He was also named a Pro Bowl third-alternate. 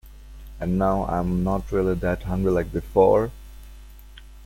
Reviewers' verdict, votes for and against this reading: rejected, 0, 2